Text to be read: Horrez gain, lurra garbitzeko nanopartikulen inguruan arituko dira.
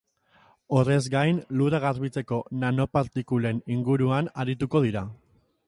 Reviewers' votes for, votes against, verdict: 3, 0, accepted